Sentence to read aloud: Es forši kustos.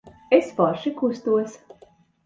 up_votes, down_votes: 2, 0